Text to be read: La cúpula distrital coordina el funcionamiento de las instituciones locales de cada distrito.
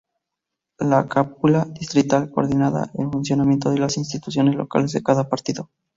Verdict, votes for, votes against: rejected, 0, 2